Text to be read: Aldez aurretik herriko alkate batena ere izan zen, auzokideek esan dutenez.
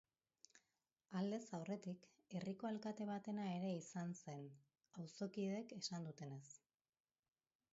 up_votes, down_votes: 2, 0